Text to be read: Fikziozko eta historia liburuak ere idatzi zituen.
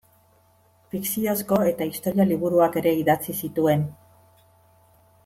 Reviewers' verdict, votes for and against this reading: accepted, 2, 0